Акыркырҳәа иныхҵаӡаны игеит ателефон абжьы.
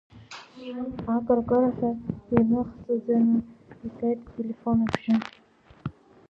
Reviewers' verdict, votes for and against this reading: rejected, 0, 2